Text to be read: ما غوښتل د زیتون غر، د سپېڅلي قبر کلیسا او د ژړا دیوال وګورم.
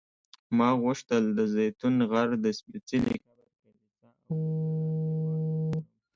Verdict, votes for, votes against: rejected, 1, 2